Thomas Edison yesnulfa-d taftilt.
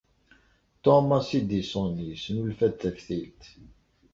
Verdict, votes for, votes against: accepted, 2, 0